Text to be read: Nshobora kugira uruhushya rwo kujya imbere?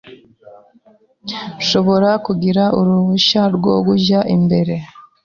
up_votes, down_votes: 2, 0